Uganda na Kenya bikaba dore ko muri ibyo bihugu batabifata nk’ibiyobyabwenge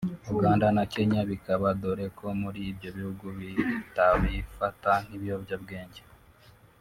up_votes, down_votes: 1, 2